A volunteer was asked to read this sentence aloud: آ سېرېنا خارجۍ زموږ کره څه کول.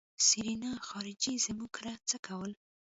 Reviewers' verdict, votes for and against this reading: rejected, 1, 2